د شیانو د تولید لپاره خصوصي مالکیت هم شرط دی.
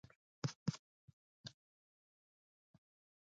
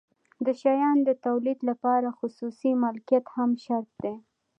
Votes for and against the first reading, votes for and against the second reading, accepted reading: 0, 2, 2, 0, second